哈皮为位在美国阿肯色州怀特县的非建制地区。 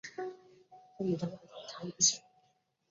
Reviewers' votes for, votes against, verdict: 0, 3, rejected